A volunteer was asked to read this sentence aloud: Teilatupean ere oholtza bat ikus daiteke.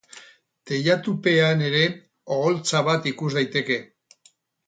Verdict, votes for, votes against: accepted, 4, 0